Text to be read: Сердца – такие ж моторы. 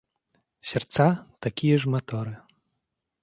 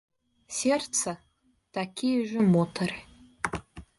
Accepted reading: first